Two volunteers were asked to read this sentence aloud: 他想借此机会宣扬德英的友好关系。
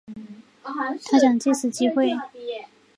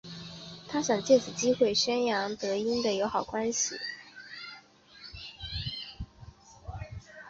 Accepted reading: second